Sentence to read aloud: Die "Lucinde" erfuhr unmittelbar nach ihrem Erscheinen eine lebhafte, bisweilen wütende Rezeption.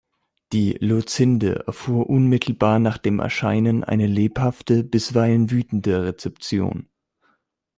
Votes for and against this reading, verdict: 0, 2, rejected